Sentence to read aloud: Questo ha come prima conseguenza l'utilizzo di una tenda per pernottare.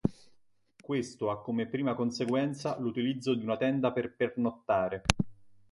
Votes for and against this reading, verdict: 2, 0, accepted